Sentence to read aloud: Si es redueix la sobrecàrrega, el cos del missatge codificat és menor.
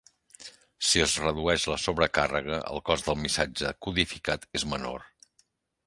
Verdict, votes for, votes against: accepted, 2, 0